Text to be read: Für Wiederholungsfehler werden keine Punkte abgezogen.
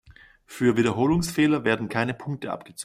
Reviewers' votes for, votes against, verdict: 1, 2, rejected